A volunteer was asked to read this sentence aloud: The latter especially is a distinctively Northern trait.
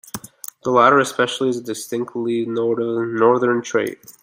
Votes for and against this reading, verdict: 1, 2, rejected